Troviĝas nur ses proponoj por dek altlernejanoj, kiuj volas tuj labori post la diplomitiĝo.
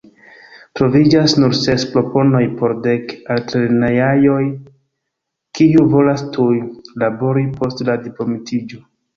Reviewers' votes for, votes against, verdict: 0, 2, rejected